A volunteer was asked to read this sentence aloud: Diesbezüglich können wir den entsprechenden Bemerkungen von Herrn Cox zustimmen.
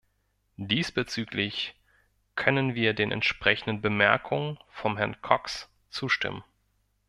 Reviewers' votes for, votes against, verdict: 1, 2, rejected